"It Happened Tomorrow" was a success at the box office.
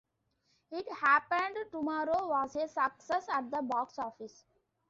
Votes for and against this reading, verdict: 2, 0, accepted